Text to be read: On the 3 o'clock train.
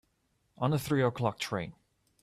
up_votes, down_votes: 0, 2